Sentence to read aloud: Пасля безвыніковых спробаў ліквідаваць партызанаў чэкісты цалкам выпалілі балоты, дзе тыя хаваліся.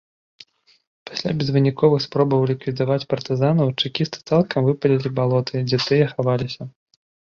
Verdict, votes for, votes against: accepted, 2, 0